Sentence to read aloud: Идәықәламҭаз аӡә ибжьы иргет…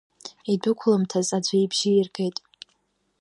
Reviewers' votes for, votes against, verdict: 3, 0, accepted